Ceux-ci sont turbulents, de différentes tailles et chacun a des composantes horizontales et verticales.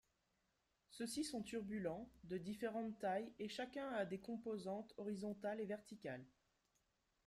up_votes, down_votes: 2, 0